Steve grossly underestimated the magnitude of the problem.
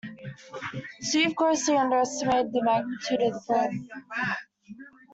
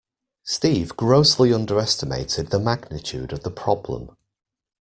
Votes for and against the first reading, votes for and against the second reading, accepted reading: 1, 2, 2, 0, second